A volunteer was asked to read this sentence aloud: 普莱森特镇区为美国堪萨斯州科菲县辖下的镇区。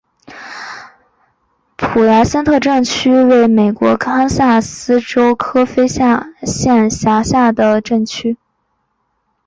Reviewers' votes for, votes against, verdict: 1, 2, rejected